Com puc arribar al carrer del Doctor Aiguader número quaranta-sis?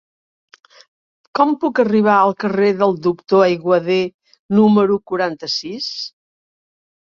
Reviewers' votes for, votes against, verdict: 3, 0, accepted